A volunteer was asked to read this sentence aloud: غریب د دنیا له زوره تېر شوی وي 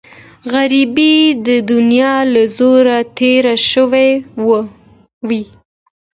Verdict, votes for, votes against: accepted, 2, 0